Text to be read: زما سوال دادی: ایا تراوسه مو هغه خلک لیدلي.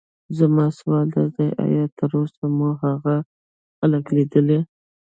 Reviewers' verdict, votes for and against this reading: rejected, 0, 2